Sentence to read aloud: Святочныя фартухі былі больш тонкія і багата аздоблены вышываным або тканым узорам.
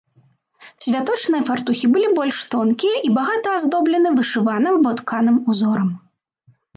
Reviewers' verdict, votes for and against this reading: accepted, 2, 0